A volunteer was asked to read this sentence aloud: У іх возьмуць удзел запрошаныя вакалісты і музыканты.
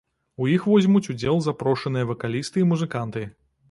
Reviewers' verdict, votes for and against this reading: rejected, 1, 2